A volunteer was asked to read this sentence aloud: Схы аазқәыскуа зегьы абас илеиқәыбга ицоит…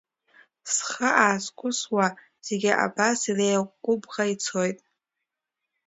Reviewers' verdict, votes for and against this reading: rejected, 0, 2